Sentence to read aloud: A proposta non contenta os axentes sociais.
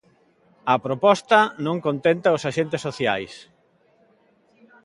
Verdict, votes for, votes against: accepted, 2, 1